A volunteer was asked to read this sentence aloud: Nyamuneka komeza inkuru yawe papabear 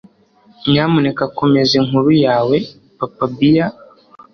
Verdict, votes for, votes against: accepted, 2, 0